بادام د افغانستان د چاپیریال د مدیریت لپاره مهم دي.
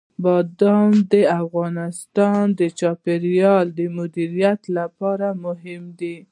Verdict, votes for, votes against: accepted, 2, 0